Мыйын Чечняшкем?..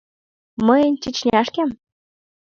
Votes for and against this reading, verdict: 2, 0, accepted